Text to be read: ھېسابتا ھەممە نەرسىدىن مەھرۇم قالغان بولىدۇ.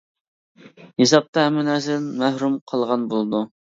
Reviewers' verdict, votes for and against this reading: rejected, 1, 2